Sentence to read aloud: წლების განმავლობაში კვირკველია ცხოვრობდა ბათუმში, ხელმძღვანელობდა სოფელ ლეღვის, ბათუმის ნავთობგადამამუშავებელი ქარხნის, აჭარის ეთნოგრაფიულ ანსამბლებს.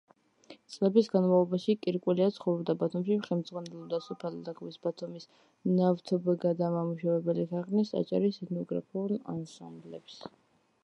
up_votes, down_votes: 0, 2